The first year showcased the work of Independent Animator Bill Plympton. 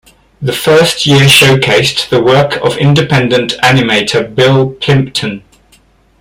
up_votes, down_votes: 1, 2